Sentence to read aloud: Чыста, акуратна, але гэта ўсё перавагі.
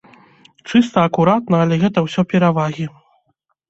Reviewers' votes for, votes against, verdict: 2, 0, accepted